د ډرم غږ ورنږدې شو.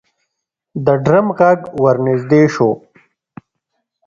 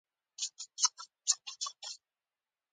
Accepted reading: first